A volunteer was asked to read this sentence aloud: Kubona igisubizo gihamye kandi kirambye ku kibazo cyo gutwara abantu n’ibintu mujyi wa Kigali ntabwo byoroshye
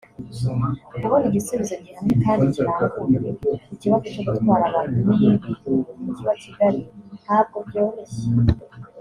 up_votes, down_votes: 1, 2